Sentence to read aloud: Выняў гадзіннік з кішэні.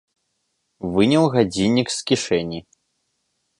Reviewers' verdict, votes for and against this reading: accepted, 2, 1